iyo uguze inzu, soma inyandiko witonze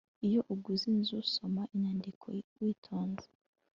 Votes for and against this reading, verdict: 2, 0, accepted